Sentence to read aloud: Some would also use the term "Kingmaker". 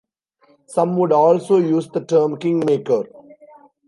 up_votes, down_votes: 2, 1